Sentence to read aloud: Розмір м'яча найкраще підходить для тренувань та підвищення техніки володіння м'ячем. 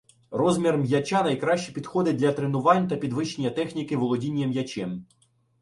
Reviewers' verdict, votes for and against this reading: accepted, 2, 0